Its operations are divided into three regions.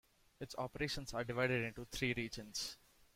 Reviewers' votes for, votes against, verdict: 2, 1, accepted